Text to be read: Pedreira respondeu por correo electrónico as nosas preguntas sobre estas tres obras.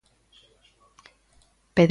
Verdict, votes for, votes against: rejected, 0, 2